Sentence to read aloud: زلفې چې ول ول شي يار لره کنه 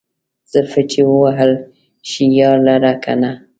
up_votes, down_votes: 1, 2